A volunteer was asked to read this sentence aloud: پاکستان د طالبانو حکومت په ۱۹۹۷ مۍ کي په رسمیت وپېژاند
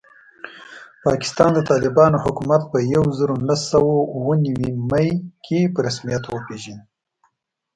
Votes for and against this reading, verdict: 0, 2, rejected